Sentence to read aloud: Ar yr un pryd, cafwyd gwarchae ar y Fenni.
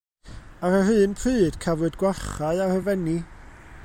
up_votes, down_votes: 1, 2